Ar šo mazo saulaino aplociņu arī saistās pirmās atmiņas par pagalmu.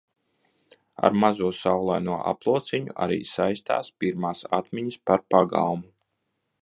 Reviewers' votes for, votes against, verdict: 0, 2, rejected